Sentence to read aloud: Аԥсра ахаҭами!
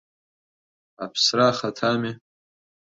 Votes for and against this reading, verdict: 2, 0, accepted